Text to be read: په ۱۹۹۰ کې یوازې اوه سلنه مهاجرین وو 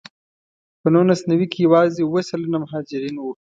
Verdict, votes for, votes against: rejected, 0, 2